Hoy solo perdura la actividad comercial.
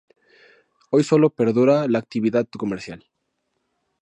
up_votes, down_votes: 2, 0